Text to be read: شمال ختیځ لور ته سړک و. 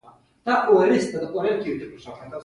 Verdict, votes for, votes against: rejected, 0, 2